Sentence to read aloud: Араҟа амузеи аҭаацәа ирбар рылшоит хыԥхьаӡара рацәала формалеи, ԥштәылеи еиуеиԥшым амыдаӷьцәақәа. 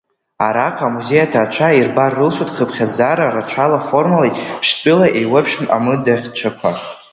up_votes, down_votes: 2, 1